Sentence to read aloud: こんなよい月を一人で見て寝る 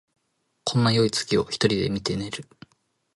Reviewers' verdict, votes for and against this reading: accepted, 2, 0